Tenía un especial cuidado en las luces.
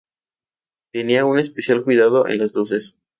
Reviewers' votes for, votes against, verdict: 0, 2, rejected